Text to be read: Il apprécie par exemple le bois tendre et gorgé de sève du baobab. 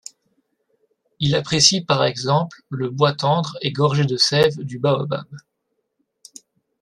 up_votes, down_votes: 2, 0